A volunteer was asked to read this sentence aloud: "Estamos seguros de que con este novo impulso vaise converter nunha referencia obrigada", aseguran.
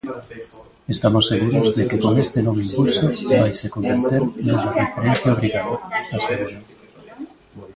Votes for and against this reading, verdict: 0, 2, rejected